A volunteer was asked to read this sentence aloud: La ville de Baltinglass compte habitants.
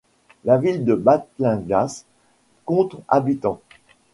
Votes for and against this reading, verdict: 1, 3, rejected